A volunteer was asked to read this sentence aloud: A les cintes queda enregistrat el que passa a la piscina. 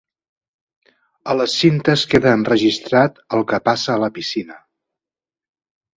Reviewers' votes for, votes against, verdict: 2, 0, accepted